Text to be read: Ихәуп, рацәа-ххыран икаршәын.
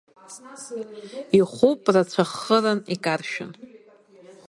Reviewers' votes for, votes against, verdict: 0, 2, rejected